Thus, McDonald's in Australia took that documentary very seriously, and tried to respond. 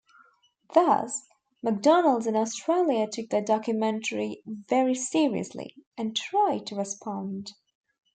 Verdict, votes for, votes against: accepted, 2, 0